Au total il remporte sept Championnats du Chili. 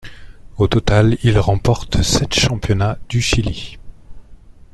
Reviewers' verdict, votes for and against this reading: accepted, 2, 0